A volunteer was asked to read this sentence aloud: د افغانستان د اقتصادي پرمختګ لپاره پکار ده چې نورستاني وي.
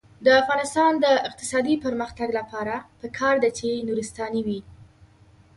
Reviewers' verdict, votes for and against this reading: accepted, 2, 0